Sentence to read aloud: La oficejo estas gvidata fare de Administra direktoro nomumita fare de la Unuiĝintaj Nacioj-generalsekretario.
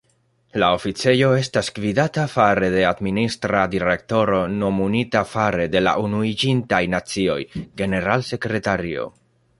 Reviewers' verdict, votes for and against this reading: rejected, 0, 2